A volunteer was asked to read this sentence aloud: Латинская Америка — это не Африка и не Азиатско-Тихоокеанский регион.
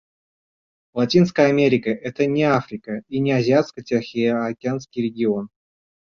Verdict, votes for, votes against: rejected, 0, 2